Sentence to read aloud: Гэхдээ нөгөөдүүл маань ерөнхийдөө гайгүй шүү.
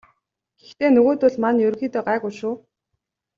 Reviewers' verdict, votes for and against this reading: accepted, 2, 0